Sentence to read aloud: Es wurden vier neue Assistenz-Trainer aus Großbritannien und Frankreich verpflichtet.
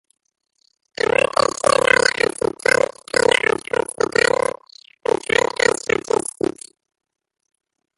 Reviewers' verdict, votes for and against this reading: rejected, 0, 2